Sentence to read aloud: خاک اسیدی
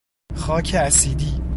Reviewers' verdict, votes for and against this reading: accepted, 2, 0